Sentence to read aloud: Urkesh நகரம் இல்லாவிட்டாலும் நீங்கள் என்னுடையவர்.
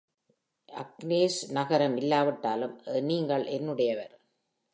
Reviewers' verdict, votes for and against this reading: accepted, 2, 0